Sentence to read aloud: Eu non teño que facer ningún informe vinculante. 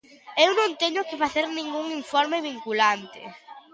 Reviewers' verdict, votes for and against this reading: accepted, 2, 0